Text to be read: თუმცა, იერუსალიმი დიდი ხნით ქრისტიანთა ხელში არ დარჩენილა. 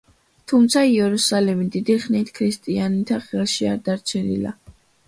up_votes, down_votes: 2, 0